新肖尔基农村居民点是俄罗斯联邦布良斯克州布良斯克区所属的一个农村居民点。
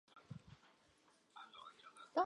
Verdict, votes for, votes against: rejected, 0, 5